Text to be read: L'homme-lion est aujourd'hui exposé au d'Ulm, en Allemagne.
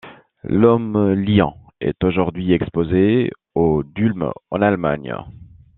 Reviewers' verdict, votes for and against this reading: accepted, 2, 0